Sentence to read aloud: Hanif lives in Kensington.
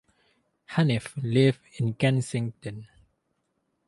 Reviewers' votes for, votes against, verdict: 2, 0, accepted